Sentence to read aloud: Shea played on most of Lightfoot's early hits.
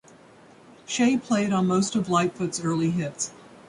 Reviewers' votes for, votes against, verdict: 3, 0, accepted